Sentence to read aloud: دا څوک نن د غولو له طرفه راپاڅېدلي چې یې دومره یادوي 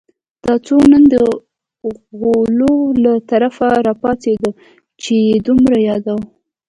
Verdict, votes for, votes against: rejected, 0, 2